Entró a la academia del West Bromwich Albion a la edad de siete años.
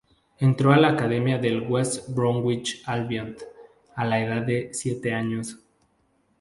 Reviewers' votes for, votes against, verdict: 2, 0, accepted